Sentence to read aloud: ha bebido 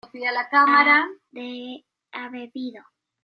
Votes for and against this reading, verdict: 1, 2, rejected